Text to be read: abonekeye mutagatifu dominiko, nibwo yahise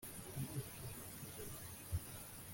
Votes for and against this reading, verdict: 0, 2, rejected